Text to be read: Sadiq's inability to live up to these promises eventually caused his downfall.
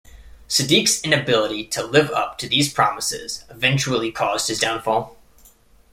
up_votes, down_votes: 1, 2